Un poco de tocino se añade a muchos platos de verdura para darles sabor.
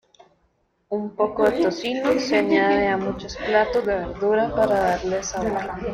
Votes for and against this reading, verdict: 1, 2, rejected